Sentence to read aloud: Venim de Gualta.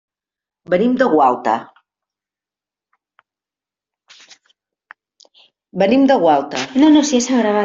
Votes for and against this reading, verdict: 0, 2, rejected